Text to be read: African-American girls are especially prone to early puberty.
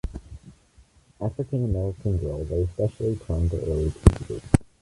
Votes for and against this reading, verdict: 2, 0, accepted